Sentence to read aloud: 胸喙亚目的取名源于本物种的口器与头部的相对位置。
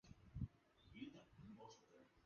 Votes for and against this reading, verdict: 0, 2, rejected